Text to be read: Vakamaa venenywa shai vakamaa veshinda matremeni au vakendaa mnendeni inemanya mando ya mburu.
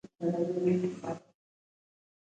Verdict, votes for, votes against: rejected, 0, 2